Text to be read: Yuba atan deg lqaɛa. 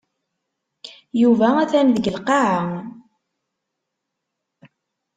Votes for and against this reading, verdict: 2, 0, accepted